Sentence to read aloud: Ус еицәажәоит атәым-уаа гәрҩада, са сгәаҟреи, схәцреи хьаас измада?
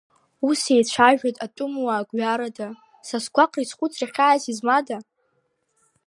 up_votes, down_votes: 1, 2